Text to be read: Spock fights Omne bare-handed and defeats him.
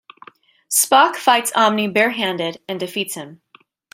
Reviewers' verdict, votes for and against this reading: accepted, 2, 0